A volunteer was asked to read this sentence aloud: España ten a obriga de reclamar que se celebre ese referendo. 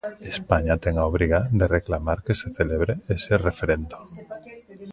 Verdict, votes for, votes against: rejected, 1, 2